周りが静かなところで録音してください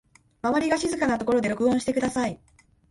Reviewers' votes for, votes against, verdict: 4, 0, accepted